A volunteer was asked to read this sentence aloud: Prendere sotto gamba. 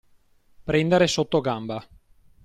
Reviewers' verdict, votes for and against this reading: accepted, 2, 0